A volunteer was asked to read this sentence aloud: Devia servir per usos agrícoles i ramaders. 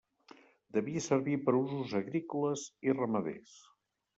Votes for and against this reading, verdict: 2, 0, accepted